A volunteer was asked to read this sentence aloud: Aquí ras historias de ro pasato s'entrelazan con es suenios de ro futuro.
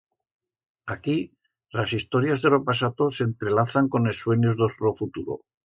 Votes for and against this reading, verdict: 1, 2, rejected